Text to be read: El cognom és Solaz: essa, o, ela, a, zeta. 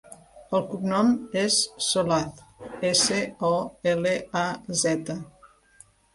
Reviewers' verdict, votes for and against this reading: rejected, 1, 2